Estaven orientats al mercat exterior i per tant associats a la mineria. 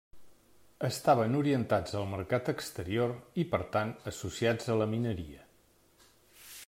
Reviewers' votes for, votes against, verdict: 3, 0, accepted